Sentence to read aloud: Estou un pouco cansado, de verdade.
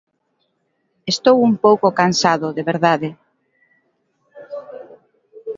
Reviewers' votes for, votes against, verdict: 2, 0, accepted